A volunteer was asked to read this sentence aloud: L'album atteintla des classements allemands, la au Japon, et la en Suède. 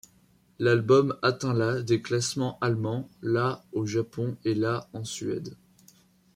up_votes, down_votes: 2, 0